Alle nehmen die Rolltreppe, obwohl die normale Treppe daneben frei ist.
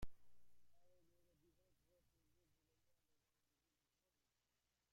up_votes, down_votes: 0, 2